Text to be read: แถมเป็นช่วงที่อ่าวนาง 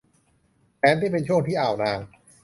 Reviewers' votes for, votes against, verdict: 0, 2, rejected